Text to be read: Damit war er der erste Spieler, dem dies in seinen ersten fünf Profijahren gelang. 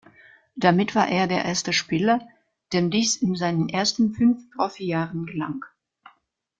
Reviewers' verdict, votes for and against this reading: accepted, 2, 0